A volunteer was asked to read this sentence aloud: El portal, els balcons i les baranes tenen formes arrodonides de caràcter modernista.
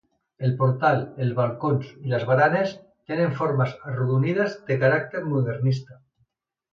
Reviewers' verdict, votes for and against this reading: accepted, 3, 0